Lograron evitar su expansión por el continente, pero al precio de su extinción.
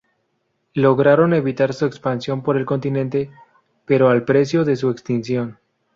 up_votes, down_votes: 2, 0